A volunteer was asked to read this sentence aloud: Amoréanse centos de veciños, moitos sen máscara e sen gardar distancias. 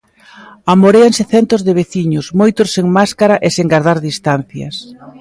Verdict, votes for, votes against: accepted, 2, 0